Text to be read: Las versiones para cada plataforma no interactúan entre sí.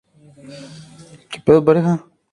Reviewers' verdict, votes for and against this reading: rejected, 0, 2